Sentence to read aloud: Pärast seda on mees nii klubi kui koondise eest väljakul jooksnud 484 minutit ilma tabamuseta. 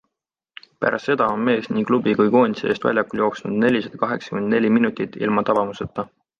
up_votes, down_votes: 0, 2